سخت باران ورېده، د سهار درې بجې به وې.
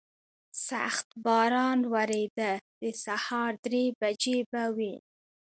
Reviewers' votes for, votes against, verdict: 2, 1, accepted